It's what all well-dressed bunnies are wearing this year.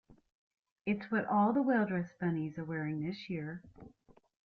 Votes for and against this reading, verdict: 0, 2, rejected